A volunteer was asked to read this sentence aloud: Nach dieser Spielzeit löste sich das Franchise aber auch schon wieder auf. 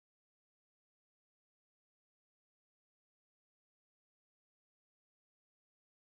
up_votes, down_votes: 0, 4